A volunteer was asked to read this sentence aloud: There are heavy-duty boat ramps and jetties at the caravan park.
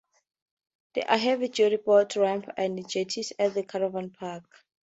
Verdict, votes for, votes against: accepted, 2, 0